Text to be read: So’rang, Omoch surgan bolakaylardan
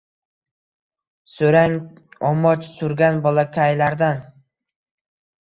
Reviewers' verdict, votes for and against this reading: accepted, 2, 1